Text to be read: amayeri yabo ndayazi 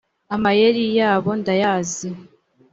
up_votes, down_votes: 2, 0